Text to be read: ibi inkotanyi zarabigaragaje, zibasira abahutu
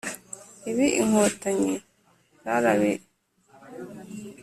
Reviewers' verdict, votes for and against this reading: rejected, 0, 2